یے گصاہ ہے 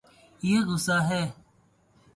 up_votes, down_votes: 0, 2